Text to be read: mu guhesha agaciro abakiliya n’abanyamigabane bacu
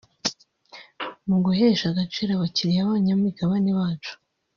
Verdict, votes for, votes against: rejected, 0, 2